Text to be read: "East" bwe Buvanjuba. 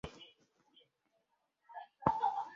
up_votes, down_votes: 1, 2